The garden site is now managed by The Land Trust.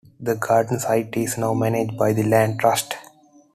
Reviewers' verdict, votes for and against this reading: accepted, 2, 1